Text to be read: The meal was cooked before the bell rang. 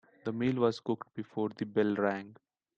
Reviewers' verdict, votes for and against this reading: accepted, 2, 0